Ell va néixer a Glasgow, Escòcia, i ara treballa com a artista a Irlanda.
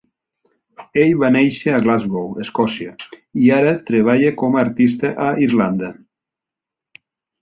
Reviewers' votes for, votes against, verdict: 3, 0, accepted